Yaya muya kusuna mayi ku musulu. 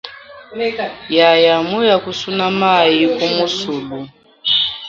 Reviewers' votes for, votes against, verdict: 1, 3, rejected